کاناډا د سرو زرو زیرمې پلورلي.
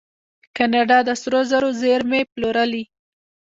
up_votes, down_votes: 1, 2